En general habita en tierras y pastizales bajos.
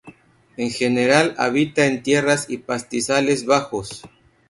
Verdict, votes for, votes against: accepted, 4, 0